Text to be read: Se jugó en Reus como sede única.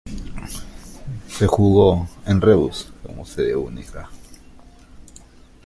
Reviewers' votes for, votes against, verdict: 2, 0, accepted